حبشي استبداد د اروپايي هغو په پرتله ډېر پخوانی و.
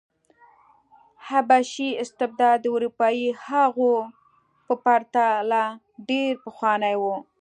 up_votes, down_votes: 2, 0